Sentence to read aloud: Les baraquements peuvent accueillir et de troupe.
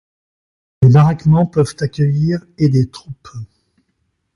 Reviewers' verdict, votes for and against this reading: rejected, 0, 2